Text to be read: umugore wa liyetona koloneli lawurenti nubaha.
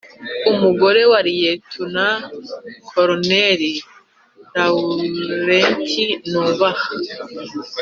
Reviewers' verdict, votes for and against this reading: accepted, 3, 1